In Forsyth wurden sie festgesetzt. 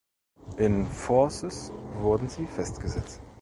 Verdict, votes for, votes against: rejected, 1, 2